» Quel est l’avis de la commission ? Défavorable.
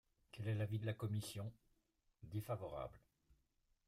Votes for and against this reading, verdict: 2, 1, accepted